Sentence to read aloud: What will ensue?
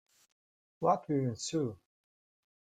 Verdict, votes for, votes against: accepted, 2, 0